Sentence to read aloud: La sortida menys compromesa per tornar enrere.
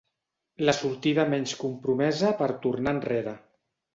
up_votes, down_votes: 3, 0